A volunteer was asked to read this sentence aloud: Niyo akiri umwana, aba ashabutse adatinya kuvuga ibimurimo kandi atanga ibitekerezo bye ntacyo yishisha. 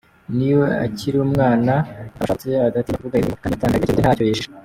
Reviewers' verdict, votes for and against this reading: rejected, 0, 2